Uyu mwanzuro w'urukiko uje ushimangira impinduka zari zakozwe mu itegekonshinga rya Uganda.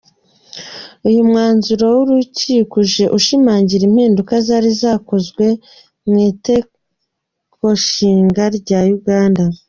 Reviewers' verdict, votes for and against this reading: rejected, 2, 3